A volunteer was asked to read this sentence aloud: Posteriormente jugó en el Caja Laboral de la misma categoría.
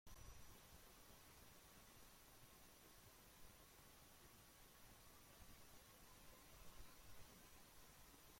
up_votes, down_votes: 0, 2